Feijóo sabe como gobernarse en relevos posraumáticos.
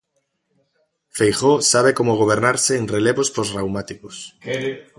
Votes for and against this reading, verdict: 2, 0, accepted